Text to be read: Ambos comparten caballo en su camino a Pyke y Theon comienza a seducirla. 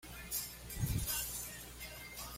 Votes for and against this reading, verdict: 1, 2, rejected